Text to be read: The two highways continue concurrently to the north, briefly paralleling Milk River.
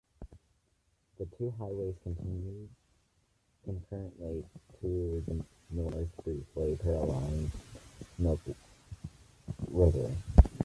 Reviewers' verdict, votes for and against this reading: rejected, 0, 2